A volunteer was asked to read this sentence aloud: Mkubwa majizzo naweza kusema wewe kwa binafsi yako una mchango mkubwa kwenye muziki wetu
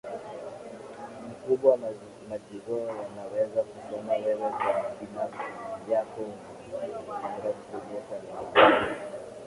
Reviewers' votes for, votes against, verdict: 0, 2, rejected